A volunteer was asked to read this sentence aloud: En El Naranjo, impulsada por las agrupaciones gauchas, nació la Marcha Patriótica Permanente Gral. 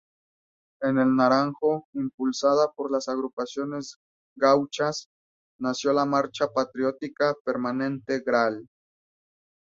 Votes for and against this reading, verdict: 0, 2, rejected